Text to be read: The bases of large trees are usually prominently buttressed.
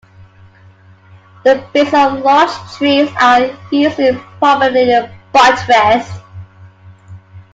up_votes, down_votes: 2, 1